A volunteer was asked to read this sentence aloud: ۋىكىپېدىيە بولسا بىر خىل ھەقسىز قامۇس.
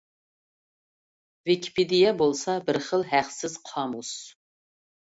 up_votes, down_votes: 2, 0